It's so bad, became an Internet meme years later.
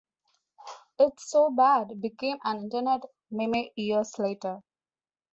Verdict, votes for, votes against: rejected, 0, 2